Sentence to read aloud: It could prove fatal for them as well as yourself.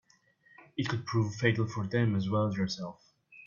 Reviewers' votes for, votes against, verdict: 2, 0, accepted